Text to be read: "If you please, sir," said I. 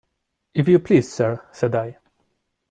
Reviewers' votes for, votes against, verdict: 2, 0, accepted